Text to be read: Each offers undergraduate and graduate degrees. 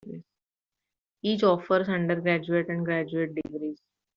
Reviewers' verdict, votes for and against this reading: accepted, 2, 0